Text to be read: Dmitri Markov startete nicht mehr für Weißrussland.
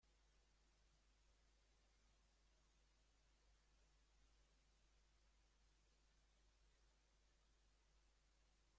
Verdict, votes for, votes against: rejected, 0, 2